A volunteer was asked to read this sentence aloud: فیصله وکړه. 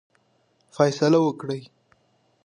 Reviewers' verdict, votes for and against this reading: accepted, 2, 1